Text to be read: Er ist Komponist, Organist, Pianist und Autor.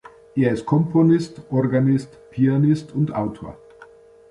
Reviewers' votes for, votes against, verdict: 2, 0, accepted